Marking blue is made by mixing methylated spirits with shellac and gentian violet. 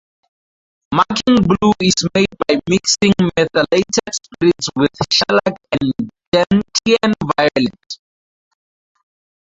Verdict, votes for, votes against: rejected, 0, 4